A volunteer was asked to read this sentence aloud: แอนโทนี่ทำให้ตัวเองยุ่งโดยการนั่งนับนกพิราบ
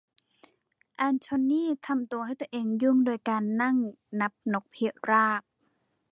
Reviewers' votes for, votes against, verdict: 0, 2, rejected